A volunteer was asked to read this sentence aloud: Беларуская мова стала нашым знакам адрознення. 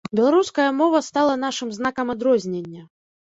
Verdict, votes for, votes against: accepted, 2, 0